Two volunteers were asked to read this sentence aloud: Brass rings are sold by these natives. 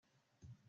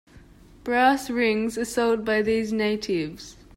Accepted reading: second